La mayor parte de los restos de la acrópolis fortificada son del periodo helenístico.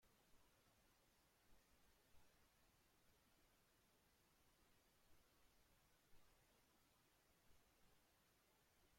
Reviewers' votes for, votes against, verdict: 0, 2, rejected